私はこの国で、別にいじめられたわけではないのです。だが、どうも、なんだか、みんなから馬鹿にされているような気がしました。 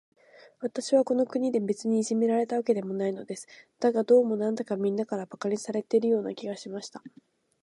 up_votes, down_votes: 2, 0